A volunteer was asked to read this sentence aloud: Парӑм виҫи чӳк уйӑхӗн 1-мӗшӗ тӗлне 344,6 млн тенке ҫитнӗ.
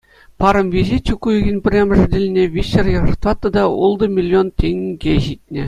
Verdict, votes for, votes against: rejected, 0, 2